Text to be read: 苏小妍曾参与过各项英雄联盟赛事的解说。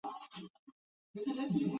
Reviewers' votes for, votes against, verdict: 0, 2, rejected